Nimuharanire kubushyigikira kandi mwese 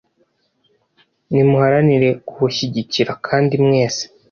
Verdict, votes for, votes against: rejected, 1, 2